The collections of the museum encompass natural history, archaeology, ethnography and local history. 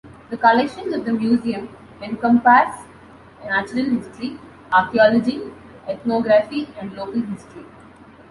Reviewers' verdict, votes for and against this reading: accepted, 2, 1